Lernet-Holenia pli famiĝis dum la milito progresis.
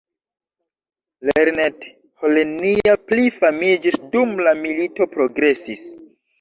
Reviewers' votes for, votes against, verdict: 1, 3, rejected